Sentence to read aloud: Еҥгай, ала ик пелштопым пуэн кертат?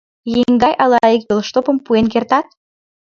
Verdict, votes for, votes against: rejected, 2, 3